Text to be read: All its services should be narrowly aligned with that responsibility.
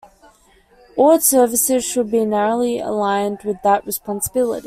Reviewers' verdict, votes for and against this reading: accepted, 2, 1